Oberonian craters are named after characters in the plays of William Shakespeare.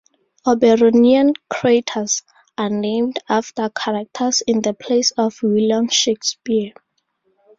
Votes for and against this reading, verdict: 2, 2, rejected